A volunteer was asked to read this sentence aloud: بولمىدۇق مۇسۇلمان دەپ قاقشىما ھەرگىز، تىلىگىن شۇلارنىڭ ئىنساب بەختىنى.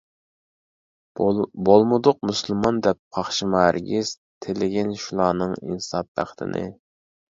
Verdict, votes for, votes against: rejected, 1, 2